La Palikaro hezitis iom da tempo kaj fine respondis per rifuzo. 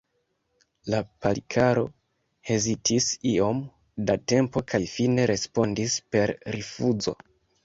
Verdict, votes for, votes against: accepted, 2, 1